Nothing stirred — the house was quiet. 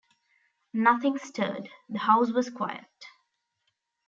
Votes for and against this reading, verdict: 2, 0, accepted